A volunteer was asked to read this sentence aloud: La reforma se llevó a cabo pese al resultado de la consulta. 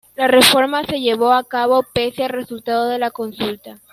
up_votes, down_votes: 2, 1